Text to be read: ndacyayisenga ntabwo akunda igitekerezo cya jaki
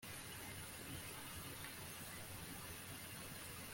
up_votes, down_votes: 0, 2